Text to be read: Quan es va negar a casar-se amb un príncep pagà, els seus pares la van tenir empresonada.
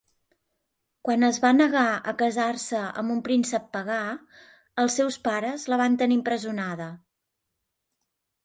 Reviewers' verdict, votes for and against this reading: rejected, 0, 2